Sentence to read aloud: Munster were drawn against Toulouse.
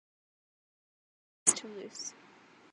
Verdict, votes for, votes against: rejected, 2, 4